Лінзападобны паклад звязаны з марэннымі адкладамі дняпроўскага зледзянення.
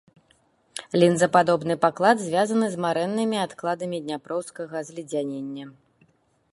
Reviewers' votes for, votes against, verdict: 2, 0, accepted